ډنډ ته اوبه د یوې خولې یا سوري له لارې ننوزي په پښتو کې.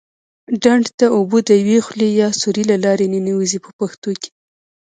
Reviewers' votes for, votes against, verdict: 1, 2, rejected